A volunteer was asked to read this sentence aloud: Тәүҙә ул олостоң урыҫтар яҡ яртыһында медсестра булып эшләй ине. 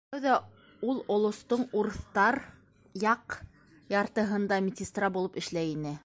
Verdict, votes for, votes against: rejected, 1, 2